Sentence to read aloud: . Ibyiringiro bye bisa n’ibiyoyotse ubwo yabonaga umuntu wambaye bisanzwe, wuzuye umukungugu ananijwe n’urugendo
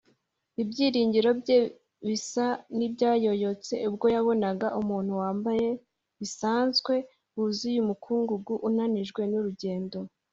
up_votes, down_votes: 0, 2